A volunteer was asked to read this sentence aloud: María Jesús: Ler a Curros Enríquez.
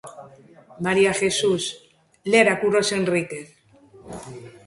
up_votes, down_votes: 2, 0